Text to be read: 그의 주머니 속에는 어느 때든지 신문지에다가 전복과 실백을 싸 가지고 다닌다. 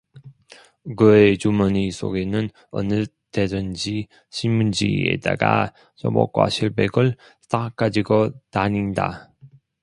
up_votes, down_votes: 2, 0